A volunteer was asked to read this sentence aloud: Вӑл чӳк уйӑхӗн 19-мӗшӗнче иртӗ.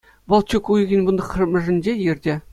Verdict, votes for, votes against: rejected, 0, 2